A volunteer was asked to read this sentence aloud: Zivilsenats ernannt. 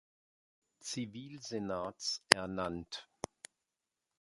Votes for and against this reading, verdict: 2, 0, accepted